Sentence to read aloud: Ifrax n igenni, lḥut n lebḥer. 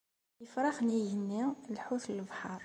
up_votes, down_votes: 2, 0